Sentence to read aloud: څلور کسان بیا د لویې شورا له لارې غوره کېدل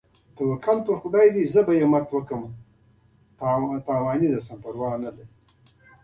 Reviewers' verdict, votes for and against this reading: rejected, 0, 2